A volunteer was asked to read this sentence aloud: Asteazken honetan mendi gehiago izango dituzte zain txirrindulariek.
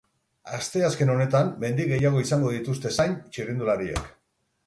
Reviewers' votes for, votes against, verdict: 6, 0, accepted